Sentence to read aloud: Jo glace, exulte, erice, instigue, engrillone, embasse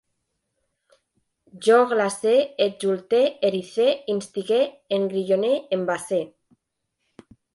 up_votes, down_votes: 2, 1